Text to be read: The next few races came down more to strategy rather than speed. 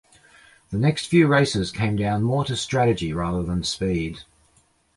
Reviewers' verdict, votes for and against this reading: accepted, 2, 0